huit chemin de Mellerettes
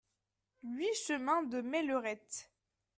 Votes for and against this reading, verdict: 2, 0, accepted